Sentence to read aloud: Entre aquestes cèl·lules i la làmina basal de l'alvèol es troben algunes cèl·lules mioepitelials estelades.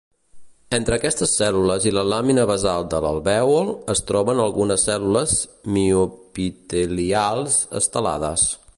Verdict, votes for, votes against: rejected, 1, 2